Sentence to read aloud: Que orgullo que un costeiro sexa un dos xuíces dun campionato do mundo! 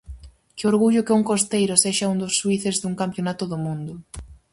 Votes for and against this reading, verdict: 2, 2, rejected